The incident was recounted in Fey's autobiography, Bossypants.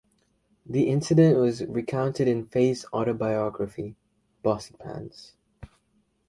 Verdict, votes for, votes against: accepted, 2, 1